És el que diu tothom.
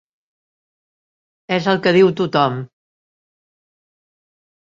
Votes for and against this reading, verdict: 2, 0, accepted